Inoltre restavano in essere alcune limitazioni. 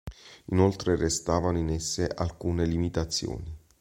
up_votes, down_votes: 1, 2